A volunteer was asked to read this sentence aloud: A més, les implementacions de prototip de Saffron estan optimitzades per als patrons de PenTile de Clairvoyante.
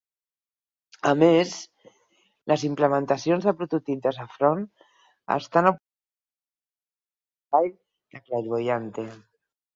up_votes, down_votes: 0, 4